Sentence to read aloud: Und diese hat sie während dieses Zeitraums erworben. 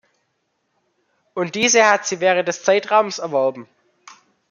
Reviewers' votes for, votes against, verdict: 1, 2, rejected